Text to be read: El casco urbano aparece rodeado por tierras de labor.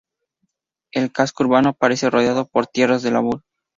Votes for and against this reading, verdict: 2, 2, rejected